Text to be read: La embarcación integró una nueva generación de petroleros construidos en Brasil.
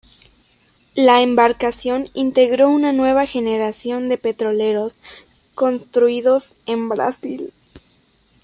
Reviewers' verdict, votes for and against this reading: accepted, 2, 0